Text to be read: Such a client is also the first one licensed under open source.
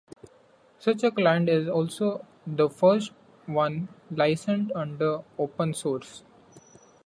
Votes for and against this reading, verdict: 1, 2, rejected